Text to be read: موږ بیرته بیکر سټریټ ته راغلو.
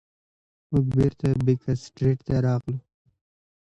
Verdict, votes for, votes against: accepted, 2, 0